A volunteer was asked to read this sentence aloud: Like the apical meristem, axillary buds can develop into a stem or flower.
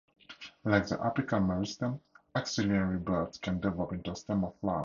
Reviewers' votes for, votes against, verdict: 2, 0, accepted